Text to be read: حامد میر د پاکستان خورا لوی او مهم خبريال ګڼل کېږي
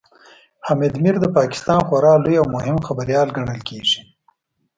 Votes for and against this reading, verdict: 2, 0, accepted